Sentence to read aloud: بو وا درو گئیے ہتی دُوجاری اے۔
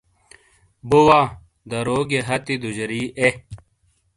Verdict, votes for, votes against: accepted, 2, 0